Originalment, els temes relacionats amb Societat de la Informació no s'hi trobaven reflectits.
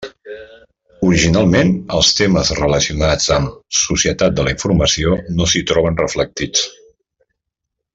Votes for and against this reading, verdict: 0, 2, rejected